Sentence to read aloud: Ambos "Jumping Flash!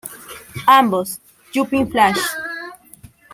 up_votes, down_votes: 2, 1